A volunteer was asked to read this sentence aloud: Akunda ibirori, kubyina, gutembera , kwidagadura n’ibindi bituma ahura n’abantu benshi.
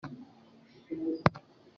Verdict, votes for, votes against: rejected, 0, 4